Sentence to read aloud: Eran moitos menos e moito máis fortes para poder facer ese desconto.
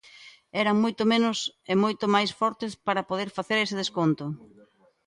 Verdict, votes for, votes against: rejected, 1, 2